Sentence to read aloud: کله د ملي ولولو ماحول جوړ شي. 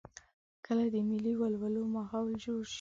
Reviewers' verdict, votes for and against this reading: accepted, 2, 0